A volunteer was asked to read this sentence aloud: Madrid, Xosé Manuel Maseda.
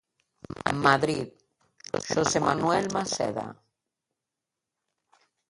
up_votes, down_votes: 2, 1